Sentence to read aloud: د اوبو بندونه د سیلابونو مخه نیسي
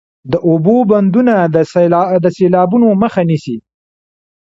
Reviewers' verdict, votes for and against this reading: accepted, 2, 0